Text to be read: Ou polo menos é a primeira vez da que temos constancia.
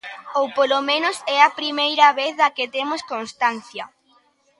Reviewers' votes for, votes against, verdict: 2, 0, accepted